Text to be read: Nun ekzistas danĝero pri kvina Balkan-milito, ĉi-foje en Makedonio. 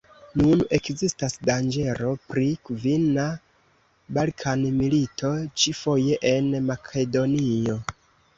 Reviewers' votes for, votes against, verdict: 1, 2, rejected